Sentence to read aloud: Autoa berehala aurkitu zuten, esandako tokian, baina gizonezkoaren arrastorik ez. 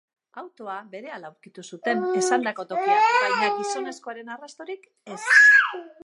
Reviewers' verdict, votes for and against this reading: rejected, 1, 2